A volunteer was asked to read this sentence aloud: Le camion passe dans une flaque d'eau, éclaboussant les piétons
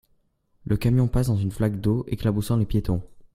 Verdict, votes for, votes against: accepted, 2, 0